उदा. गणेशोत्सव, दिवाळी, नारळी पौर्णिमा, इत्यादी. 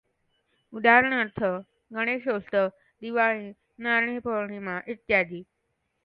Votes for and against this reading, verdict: 1, 2, rejected